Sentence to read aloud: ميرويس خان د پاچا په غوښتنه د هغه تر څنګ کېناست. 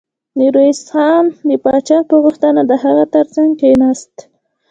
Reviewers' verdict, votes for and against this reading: accepted, 2, 0